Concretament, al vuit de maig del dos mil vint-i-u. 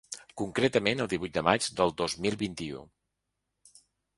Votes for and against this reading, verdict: 1, 2, rejected